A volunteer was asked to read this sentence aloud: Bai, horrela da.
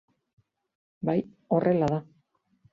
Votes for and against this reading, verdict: 2, 0, accepted